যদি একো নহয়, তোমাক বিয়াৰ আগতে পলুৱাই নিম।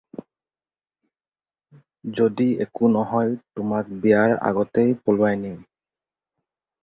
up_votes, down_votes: 0, 2